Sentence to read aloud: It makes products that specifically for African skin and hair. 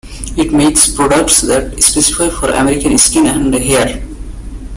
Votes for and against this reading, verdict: 1, 2, rejected